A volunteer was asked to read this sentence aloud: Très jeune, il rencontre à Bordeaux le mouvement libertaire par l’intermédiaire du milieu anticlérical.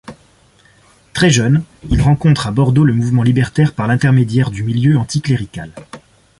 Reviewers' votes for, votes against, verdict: 2, 0, accepted